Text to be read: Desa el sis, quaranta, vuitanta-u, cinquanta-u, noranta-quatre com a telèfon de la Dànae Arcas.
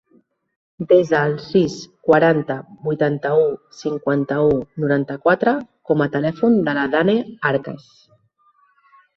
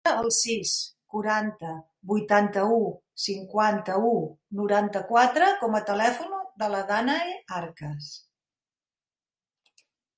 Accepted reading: first